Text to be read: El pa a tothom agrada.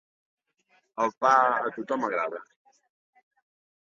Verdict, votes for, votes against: accepted, 4, 2